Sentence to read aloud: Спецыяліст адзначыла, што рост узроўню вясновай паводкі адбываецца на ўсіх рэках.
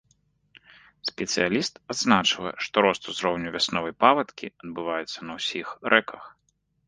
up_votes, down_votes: 0, 2